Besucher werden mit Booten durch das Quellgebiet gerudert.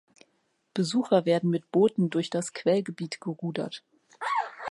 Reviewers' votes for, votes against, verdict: 2, 0, accepted